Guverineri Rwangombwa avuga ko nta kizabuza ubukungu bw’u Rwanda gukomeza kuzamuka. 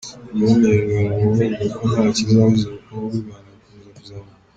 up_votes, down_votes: 1, 2